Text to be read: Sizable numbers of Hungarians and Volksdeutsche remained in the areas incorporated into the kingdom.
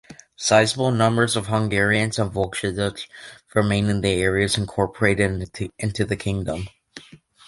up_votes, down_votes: 1, 2